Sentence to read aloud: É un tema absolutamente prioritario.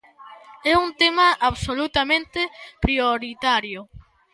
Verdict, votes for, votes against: accepted, 2, 0